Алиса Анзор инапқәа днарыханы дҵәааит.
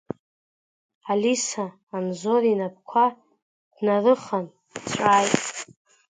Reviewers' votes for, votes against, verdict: 0, 3, rejected